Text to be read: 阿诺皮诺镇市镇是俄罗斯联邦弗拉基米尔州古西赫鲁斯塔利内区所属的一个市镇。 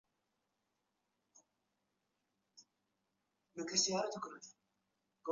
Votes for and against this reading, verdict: 0, 2, rejected